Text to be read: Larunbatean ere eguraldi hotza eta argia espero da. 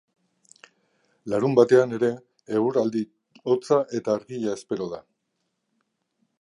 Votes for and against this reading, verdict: 2, 0, accepted